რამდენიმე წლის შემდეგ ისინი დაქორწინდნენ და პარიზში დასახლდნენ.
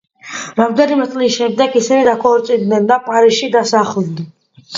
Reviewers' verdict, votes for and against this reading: rejected, 1, 2